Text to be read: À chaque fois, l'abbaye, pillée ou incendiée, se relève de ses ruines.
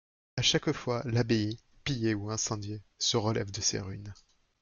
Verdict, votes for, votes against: accepted, 2, 0